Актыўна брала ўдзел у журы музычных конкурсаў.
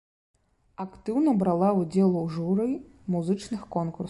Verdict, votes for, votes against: rejected, 0, 2